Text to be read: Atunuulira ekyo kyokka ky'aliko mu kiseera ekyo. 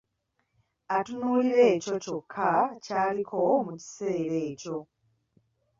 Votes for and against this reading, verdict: 2, 0, accepted